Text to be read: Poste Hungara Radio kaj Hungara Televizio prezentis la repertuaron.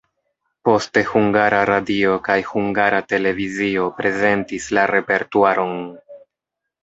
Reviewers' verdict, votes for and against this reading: rejected, 1, 2